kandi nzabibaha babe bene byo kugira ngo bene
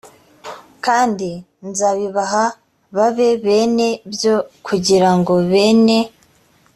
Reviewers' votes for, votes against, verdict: 3, 0, accepted